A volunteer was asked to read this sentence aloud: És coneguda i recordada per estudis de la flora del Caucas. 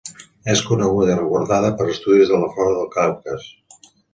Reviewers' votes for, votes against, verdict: 1, 2, rejected